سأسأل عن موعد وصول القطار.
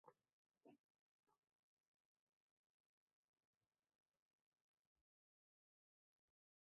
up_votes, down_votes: 0, 2